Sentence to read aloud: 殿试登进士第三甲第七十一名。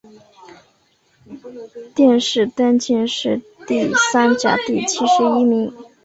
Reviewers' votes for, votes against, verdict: 2, 0, accepted